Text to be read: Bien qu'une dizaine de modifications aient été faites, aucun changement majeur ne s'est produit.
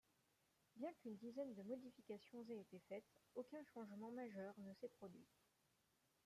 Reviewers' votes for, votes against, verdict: 0, 2, rejected